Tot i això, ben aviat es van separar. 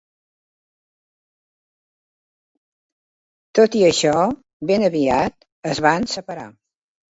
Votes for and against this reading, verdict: 2, 1, accepted